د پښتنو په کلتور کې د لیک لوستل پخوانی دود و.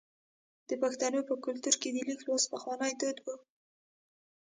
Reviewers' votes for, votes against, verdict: 1, 2, rejected